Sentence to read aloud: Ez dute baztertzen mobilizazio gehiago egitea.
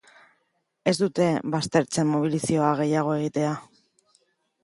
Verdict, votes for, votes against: rejected, 1, 2